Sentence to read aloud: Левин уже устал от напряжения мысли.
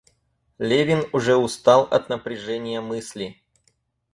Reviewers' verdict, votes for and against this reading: accepted, 4, 0